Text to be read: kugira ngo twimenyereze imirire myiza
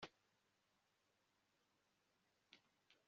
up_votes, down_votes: 0, 2